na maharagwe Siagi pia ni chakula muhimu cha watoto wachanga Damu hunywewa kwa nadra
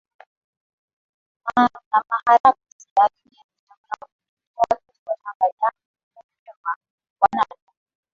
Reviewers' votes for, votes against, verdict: 2, 4, rejected